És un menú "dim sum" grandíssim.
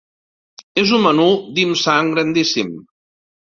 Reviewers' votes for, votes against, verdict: 1, 2, rejected